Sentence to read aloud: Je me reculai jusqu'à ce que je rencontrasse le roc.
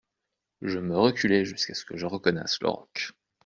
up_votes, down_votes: 0, 2